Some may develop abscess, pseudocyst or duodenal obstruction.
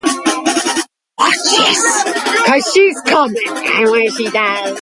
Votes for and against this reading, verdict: 0, 2, rejected